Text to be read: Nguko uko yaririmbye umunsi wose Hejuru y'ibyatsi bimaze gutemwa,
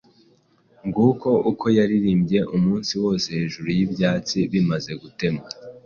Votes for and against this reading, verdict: 2, 0, accepted